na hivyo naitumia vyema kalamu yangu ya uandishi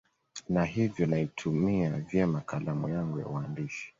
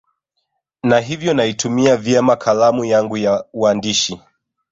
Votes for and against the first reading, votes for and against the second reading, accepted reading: 2, 0, 0, 2, first